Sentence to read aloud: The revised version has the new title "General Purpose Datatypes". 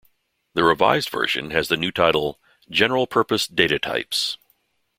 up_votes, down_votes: 2, 0